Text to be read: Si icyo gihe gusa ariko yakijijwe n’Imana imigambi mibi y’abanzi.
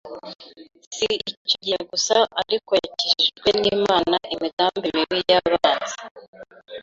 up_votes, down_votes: 1, 2